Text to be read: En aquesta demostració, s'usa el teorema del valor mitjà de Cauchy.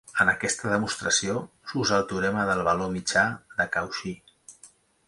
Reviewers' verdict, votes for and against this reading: accepted, 2, 0